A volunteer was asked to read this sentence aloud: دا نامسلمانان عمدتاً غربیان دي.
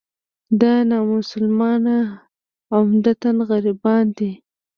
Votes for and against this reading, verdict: 2, 0, accepted